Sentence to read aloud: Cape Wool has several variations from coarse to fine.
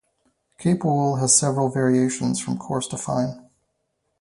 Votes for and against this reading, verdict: 4, 0, accepted